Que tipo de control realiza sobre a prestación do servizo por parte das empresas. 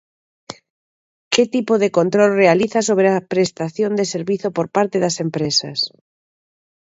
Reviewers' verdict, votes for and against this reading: rejected, 1, 2